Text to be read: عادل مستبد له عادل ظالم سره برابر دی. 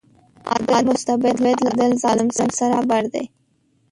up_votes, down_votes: 0, 2